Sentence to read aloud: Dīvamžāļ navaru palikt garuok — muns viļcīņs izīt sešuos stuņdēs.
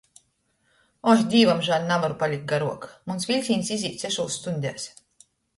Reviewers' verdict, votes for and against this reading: rejected, 0, 2